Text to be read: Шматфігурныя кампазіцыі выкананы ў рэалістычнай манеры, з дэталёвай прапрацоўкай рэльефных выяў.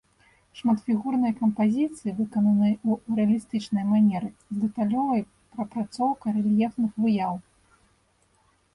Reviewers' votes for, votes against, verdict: 2, 0, accepted